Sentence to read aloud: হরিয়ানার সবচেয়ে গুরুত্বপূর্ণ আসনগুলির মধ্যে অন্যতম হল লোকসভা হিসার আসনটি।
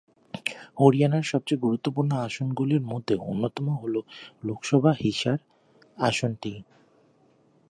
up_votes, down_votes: 2, 1